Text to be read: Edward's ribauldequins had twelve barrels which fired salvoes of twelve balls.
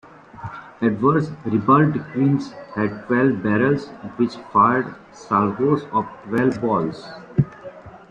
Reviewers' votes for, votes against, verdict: 2, 0, accepted